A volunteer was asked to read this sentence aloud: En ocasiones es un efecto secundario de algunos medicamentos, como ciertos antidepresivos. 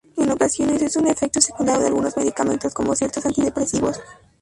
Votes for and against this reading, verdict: 0, 2, rejected